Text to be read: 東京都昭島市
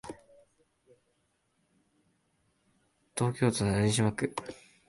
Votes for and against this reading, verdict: 2, 3, rejected